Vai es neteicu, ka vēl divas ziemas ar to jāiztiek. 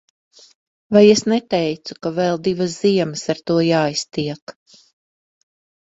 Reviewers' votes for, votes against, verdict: 3, 0, accepted